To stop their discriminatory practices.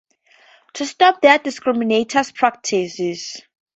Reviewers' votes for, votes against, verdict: 0, 2, rejected